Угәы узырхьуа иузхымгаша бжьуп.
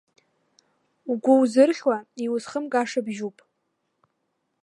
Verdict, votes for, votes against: accepted, 2, 1